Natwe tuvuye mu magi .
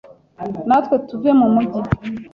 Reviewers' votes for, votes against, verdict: 1, 2, rejected